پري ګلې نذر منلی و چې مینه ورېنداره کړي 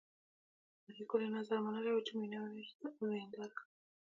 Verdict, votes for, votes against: rejected, 1, 2